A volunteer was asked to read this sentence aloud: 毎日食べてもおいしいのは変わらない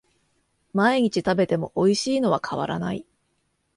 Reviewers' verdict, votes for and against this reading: accepted, 2, 0